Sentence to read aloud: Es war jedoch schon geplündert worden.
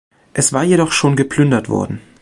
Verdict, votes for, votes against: accepted, 2, 0